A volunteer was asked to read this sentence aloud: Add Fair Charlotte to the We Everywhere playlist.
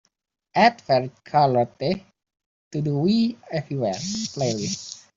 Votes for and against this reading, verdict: 0, 2, rejected